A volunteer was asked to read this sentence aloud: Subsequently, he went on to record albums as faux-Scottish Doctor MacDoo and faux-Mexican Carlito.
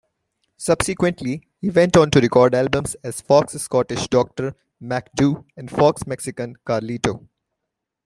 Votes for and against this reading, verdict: 0, 2, rejected